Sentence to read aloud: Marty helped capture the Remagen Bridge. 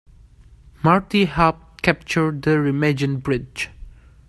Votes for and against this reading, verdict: 2, 0, accepted